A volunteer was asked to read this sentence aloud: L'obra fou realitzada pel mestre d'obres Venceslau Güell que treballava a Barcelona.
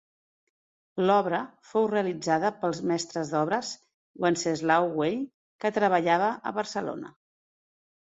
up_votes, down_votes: 1, 2